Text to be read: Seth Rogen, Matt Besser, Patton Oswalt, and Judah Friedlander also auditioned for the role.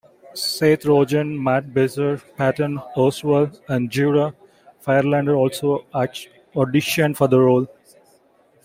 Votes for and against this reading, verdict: 1, 2, rejected